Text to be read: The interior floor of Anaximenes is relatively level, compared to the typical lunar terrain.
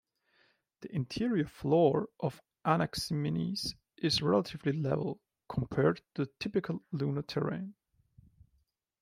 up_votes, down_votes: 2, 1